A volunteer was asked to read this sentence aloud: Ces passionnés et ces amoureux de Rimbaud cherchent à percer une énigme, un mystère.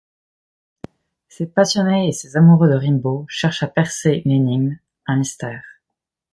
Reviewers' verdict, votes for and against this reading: rejected, 1, 2